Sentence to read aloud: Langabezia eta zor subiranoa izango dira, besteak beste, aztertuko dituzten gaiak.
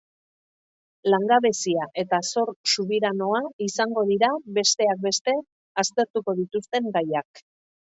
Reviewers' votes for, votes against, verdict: 2, 0, accepted